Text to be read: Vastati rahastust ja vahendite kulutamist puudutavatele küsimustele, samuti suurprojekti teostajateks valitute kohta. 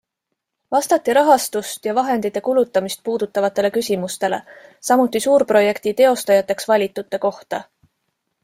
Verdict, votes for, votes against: accepted, 2, 0